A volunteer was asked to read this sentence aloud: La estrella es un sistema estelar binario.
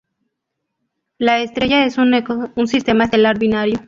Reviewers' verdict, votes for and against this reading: rejected, 0, 2